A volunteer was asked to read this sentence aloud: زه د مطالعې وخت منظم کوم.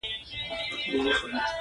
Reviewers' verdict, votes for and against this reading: accepted, 2, 0